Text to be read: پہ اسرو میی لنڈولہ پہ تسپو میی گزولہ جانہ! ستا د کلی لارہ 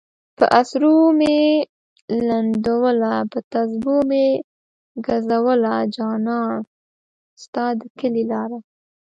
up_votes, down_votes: 2, 0